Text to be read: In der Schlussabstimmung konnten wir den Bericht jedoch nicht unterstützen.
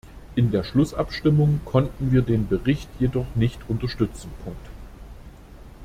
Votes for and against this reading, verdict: 2, 1, accepted